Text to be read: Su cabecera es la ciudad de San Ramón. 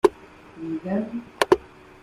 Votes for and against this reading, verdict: 0, 2, rejected